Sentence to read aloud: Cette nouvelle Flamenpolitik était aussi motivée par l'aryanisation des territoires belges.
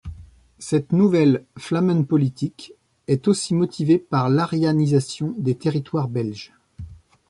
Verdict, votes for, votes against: rejected, 0, 2